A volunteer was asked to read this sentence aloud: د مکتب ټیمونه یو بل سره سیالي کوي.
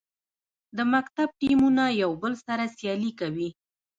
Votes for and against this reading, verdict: 0, 2, rejected